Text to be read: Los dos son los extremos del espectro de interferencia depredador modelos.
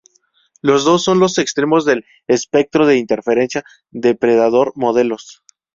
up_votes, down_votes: 2, 0